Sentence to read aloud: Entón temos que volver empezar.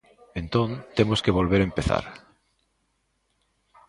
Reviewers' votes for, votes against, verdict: 2, 0, accepted